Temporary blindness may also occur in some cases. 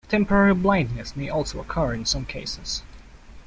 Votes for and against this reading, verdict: 2, 0, accepted